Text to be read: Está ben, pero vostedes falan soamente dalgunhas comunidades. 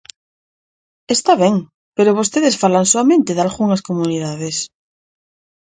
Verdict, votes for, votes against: accepted, 4, 0